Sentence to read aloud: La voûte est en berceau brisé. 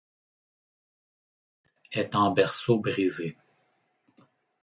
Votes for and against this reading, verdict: 0, 2, rejected